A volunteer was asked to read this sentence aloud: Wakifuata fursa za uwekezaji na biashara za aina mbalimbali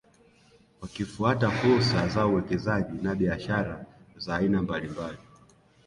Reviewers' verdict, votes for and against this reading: rejected, 1, 2